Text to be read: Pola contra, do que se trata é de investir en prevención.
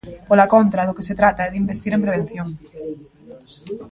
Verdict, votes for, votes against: rejected, 1, 2